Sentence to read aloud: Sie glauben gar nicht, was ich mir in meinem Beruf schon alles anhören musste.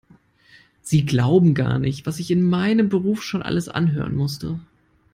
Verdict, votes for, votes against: rejected, 1, 2